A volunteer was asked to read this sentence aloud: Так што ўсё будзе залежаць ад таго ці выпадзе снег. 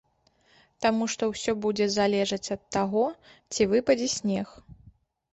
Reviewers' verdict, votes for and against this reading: rejected, 1, 2